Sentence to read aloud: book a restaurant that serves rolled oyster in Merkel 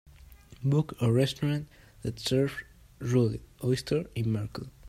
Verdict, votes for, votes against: accepted, 2, 1